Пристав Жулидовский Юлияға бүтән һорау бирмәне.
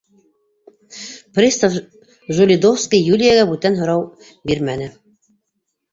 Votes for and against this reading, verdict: 0, 2, rejected